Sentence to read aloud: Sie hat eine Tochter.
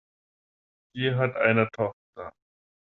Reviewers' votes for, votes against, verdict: 2, 0, accepted